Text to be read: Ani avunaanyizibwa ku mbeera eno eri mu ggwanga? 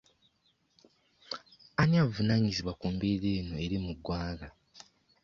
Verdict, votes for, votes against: accepted, 2, 0